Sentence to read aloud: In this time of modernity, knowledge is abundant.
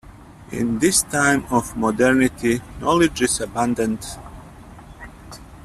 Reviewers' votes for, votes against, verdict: 0, 2, rejected